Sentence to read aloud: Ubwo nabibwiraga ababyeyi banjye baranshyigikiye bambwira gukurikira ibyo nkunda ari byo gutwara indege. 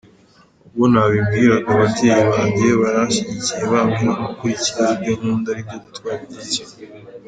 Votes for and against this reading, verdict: 2, 0, accepted